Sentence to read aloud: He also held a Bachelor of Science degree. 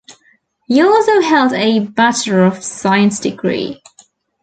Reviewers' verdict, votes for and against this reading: rejected, 0, 2